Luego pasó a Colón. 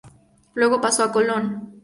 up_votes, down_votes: 2, 0